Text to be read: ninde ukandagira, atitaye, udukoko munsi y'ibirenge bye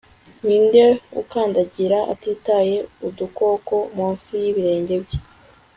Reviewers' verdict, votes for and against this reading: accepted, 2, 0